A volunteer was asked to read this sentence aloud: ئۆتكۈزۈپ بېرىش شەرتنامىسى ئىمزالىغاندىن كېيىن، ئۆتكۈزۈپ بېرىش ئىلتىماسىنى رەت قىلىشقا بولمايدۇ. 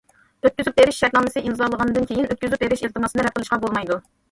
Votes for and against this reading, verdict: 2, 1, accepted